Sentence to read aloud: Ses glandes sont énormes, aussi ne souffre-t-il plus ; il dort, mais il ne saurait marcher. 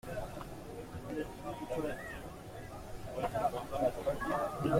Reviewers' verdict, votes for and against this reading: rejected, 0, 2